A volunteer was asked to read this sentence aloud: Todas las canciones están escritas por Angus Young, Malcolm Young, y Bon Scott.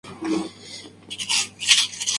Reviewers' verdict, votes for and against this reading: rejected, 0, 2